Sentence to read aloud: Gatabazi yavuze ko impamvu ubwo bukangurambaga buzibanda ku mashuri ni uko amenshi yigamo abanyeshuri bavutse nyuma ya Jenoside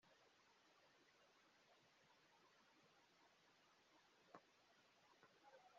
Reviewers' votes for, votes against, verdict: 0, 2, rejected